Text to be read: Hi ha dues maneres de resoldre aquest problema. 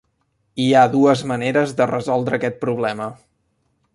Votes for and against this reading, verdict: 3, 0, accepted